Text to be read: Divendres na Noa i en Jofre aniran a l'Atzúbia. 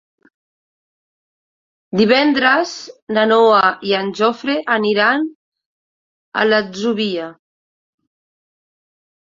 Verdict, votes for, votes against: rejected, 1, 2